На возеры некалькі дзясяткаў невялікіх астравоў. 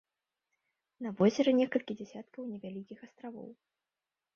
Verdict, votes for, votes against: rejected, 1, 3